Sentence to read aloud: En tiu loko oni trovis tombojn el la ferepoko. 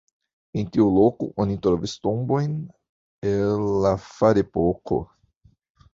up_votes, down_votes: 1, 2